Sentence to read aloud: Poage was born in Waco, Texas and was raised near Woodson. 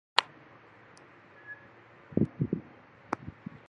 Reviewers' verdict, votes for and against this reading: rejected, 0, 2